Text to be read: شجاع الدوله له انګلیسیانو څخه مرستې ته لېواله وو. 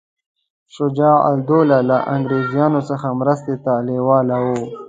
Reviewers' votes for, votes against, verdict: 1, 2, rejected